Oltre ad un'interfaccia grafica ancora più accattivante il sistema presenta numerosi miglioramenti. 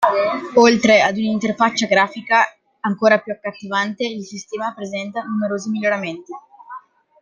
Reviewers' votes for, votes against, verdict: 2, 0, accepted